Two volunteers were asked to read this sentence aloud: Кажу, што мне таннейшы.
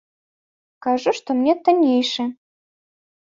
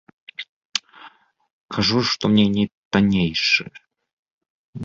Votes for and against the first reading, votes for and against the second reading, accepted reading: 2, 0, 1, 2, first